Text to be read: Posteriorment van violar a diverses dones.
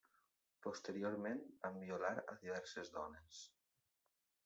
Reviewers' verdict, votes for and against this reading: rejected, 1, 2